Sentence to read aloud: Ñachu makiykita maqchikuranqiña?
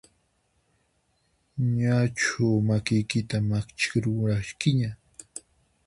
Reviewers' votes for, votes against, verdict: 0, 4, rejected